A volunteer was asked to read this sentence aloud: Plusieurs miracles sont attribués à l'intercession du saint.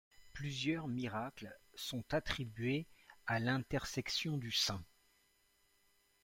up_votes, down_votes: 0, 2